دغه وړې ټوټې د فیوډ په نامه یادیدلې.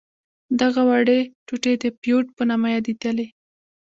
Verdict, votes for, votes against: rejected, 1, 2